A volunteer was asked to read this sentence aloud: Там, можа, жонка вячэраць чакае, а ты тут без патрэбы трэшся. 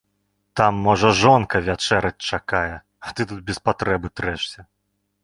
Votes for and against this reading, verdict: 2, 0, accepted